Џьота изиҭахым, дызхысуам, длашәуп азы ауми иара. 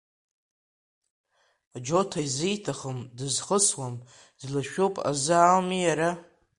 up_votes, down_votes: 2, 0